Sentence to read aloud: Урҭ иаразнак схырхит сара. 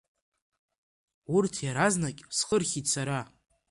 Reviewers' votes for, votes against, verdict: 0, 2, rejected